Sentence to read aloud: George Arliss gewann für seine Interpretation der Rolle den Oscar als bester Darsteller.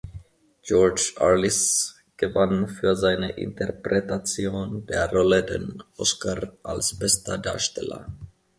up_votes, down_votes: 2, 0